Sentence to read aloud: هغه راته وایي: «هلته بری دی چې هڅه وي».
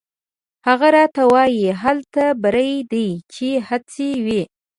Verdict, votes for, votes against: accepted, 2, 0